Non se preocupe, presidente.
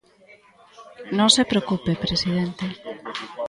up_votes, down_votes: 2, 0